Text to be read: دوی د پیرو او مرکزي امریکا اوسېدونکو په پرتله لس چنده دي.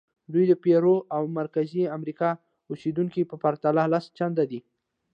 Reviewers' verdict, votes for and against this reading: accepted, 2, 0